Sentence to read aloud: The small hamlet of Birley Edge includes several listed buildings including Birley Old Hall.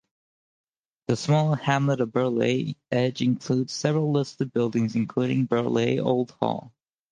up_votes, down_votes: 4, 0